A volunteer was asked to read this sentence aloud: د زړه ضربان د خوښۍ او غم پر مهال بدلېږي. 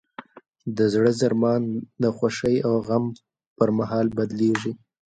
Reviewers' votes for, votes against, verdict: 1, 2, rejected